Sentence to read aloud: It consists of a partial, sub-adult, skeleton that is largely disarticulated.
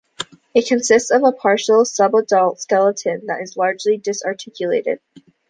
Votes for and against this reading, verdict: 2, 0, accepted